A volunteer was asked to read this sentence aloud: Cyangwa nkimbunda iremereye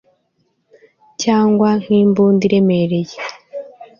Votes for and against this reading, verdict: 2, 0, accepted